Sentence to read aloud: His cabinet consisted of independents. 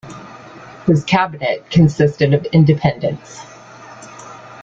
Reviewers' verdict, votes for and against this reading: accepted, 2, 0